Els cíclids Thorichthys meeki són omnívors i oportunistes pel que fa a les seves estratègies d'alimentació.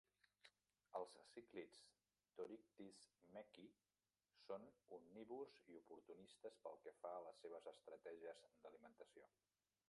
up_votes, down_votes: 0, 2